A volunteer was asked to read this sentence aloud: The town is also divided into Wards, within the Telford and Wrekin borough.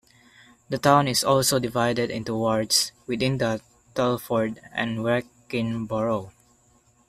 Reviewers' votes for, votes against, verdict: 2, 0, accepted